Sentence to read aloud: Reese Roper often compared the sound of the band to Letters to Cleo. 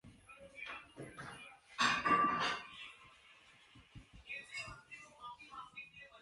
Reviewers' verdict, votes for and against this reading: rejected, 0, 2